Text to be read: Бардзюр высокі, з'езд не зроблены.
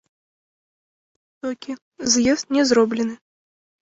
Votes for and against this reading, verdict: 0, 2, rejected